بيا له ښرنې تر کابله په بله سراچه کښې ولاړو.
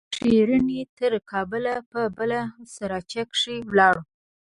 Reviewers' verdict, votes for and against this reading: rejected, 1, 2